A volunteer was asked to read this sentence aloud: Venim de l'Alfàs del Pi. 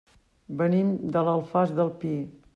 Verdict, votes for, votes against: accepted, 3, 0